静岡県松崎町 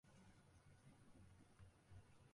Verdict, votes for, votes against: rejected, 1, 2